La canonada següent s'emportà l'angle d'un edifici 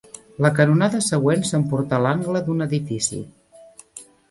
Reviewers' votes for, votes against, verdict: 2, 0, accepted